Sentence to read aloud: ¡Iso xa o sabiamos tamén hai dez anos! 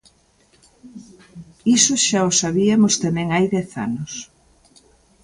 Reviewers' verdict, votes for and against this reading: rejected, 0, 2